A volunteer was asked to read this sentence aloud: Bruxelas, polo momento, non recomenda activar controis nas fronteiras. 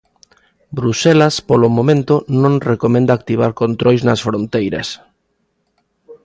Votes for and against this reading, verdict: 2, 0, accepted